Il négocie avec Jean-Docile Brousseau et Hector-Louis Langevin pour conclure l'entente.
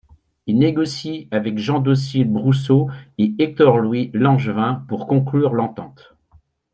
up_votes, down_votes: 2, 0